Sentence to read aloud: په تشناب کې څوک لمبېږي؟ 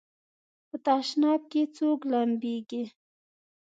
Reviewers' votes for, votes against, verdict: 2, 0, accepted